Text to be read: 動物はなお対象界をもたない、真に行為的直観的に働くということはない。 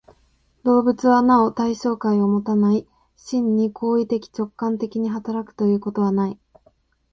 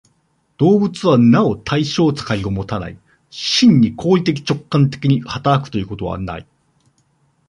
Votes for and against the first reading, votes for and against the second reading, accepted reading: 2, 0, 0, 2, first